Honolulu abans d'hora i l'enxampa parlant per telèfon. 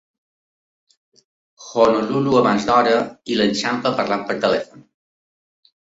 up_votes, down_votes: 2, 0